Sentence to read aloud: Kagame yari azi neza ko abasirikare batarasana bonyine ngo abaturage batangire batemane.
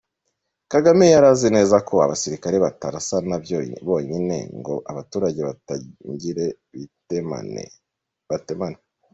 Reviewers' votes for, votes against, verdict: 0, 2, rejected